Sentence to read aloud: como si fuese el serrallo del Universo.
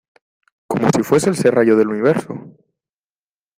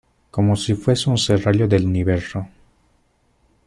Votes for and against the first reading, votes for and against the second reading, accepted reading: 2, 0, 0, 2, first